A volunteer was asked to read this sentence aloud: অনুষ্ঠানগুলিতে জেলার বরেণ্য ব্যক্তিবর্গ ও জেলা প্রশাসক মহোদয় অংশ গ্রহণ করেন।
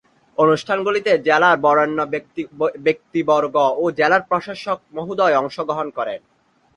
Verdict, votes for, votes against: rejected, 5, 9